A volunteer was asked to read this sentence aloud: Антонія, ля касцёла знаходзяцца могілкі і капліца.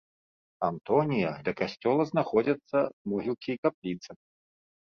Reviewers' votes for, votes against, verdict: 2, 0, accepted